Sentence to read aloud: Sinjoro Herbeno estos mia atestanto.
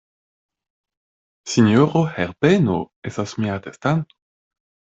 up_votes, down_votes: 1, 2